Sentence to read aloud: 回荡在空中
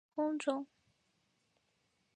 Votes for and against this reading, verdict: 0, 2, rejected